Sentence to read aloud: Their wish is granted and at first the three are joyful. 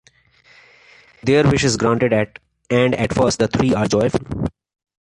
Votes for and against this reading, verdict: 0, 3, rejected